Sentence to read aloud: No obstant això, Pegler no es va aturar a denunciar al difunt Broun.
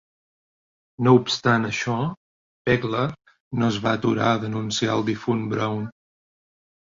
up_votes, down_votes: 2, 0